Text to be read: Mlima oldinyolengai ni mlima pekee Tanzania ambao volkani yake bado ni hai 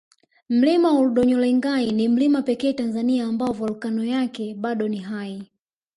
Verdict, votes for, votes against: rejected, 2, 3